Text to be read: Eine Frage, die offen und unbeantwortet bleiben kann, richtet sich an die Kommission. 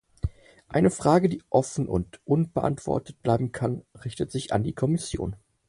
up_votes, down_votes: 4, 0